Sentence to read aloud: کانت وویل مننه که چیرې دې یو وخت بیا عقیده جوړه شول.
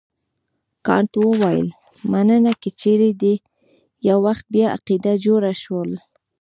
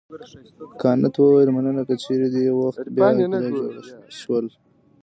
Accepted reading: first